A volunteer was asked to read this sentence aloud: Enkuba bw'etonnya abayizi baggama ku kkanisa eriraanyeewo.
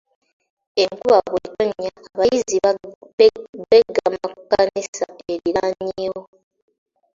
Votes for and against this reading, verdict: 2, 1, accepted